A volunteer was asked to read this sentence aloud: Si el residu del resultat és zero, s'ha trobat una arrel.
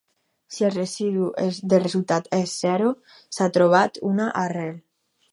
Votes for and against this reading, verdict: 0, 4, rejected